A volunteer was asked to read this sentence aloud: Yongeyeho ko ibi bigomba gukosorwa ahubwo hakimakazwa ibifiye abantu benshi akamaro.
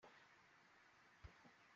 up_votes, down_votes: 0, 2